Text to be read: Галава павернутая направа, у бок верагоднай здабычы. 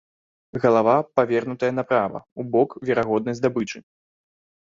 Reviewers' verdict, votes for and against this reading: accepted, 2, 0